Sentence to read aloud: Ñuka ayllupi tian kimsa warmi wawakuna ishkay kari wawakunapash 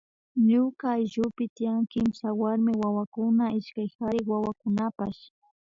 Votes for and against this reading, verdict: 1, 2, rejected